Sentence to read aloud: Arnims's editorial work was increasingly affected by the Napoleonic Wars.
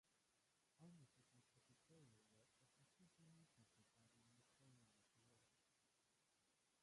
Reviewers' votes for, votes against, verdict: 0, 2, rejected